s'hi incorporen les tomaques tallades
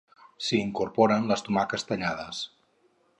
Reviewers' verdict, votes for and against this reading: rejected, 2, 2